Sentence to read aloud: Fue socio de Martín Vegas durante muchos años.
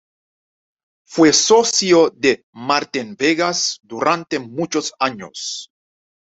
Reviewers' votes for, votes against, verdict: 2, 0, accepted